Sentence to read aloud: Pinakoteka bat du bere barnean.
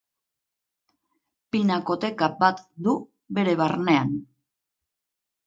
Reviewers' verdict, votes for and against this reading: accepted, 3, 0